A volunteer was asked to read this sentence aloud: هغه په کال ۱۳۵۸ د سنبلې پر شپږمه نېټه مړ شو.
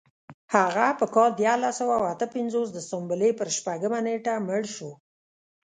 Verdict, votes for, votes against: rejected, 0, 2